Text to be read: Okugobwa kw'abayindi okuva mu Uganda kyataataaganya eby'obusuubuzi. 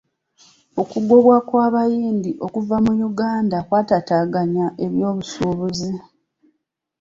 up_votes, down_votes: 2, 0